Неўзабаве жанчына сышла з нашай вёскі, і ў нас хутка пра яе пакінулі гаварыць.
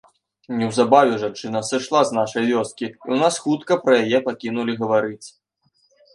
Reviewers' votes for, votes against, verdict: 2, 0, accepted